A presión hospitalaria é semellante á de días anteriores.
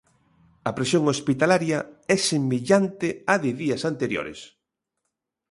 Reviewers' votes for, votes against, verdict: 2, 0, accepted